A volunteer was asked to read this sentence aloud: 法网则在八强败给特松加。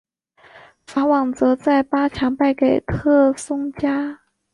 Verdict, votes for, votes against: accepted, 2, 0